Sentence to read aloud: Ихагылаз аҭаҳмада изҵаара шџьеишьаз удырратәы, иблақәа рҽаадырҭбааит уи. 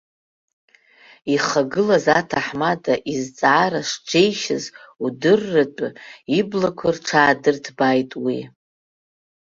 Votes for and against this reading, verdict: 2, 0, accepted